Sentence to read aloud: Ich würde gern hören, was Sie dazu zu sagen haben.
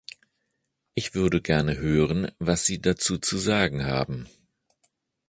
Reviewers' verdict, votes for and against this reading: rejected, 0, 2